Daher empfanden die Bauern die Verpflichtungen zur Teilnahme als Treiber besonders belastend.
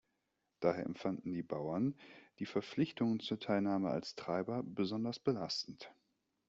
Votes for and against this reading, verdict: 2, 0, accepted